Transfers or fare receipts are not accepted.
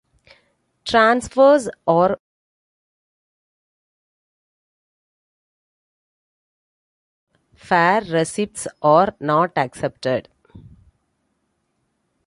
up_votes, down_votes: 0, 2